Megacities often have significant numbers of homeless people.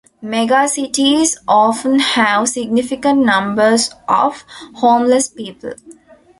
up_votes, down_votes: 3, 0